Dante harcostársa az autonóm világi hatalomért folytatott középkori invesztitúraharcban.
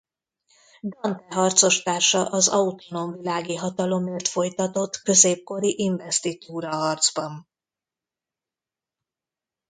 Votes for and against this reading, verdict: 1, 2, rejected